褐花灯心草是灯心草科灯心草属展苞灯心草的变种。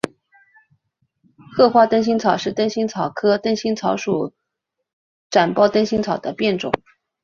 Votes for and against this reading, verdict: 3, 0, accepted